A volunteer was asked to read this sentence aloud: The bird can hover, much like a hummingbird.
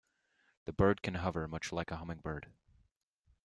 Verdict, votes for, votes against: accepted, 2, 0